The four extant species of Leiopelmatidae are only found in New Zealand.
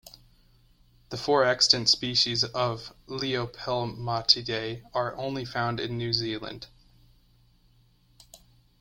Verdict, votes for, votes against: rejected, 0, 2